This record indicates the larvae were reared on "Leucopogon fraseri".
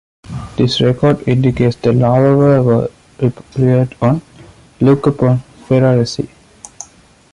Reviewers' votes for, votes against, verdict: 0, 2, rejected